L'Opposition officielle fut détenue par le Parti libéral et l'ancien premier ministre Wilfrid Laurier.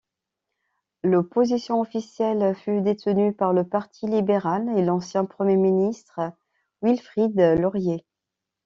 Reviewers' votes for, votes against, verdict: 2, 0, accepted